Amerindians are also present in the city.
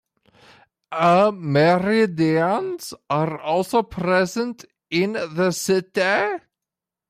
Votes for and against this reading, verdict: 2, 0, accepted